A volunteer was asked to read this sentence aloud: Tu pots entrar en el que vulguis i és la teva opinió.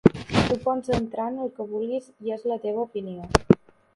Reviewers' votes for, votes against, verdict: 1, 2, rejected